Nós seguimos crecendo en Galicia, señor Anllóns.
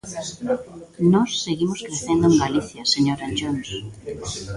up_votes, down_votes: 2, 1